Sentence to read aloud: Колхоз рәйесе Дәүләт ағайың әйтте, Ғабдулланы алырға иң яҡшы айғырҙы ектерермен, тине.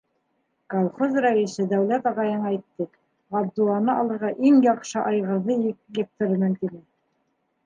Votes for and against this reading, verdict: 2, 1, accepted